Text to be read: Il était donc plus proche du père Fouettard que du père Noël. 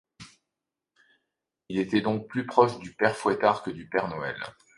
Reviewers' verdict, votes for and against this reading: accepted, 2, 0